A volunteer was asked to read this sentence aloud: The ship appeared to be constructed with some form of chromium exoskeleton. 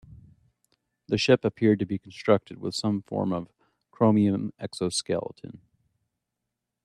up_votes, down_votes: 2, 0